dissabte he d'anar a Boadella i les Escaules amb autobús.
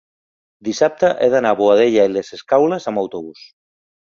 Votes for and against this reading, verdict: 3, 0, accepted